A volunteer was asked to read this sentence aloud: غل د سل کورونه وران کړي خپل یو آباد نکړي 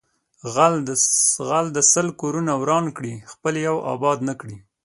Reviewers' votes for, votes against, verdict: 2, 0, accepted